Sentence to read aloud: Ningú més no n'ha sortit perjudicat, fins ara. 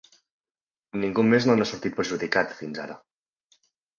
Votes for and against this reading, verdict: 2, 1, accepted